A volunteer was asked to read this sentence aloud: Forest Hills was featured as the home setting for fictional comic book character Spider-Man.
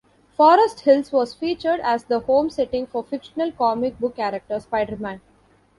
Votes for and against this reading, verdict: 2, 0, accepted